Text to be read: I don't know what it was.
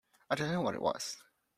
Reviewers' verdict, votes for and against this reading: rejected, 1, 2